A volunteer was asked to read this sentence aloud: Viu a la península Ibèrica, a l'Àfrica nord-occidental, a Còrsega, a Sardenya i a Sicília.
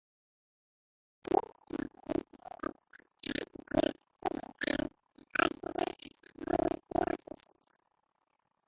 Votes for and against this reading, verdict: 0, 2, rejected